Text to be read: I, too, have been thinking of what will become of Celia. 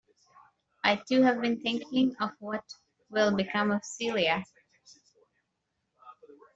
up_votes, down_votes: 2, 0